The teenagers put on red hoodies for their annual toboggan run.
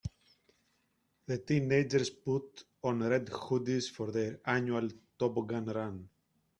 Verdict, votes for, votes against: rejected, 1, 2